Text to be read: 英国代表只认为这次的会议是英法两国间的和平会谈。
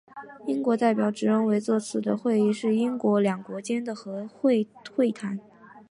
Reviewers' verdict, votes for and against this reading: rejected, 1, 3